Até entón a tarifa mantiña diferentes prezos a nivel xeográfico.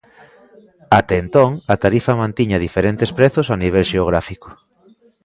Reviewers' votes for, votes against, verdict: 2, 0, accepted